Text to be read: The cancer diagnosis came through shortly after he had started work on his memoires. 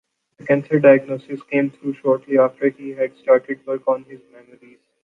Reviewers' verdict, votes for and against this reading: rejected, 0, 2